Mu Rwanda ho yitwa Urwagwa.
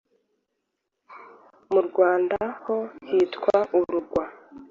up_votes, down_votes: 1, 2